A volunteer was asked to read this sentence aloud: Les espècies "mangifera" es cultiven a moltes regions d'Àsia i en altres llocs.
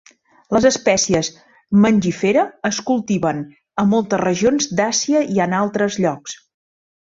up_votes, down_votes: 2, 0